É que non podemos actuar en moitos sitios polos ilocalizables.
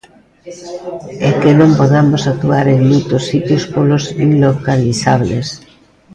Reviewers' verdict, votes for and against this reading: rejected, 1, 2